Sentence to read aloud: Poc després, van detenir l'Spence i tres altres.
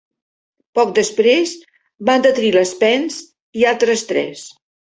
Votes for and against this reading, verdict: 1, 2, rejected